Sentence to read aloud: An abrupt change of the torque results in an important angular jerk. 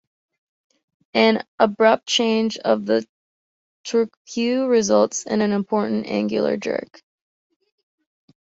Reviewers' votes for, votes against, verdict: 1, 2, rejected